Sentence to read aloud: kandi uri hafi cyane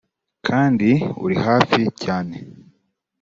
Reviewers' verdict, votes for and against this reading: accepted, 3, 0